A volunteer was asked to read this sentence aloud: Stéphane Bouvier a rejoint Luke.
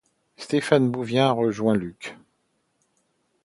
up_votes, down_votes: 0, 2